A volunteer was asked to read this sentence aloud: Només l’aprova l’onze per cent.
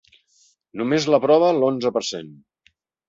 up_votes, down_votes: 2, 0